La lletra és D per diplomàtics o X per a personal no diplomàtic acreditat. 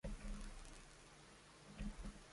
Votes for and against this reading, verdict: 0, 2, rejected